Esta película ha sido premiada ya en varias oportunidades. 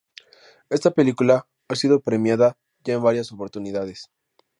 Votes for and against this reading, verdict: 2, 0, accepted